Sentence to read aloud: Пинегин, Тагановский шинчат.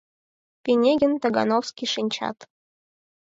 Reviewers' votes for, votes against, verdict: 4, 0, accepted